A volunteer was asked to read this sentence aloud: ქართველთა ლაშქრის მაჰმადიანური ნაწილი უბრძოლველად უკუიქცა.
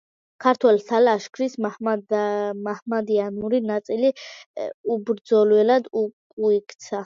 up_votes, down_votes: 0, 2